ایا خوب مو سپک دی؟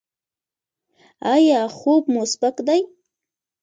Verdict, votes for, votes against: accepted, 2, 0